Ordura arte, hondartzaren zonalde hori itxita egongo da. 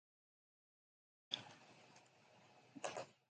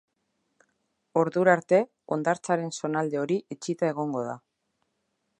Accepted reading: second